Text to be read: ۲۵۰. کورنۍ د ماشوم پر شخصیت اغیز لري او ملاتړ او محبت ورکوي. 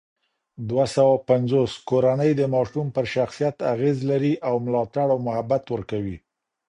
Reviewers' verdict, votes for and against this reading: rejected, 0, 2